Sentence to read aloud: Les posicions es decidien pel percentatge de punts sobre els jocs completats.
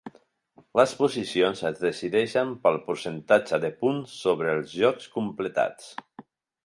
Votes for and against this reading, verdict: 0, 2, rejected